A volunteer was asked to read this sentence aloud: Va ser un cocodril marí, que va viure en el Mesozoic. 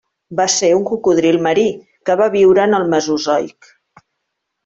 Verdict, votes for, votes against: accepted, 2, 0